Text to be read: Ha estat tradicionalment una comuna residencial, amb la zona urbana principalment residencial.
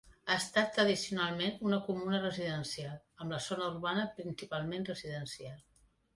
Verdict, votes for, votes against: accepted, 2, 0